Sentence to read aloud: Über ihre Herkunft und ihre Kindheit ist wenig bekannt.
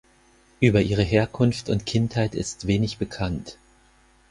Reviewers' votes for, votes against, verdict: 2, 4, rejected